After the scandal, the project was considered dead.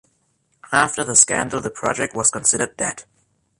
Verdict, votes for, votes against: accepted, 2, 1